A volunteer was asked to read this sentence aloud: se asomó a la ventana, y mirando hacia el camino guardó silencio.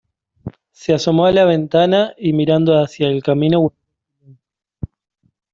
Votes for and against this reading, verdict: 0, 2, rejected